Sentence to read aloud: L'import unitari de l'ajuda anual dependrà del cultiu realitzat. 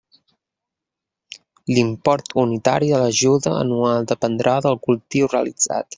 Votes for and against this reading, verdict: 0, 2, rejected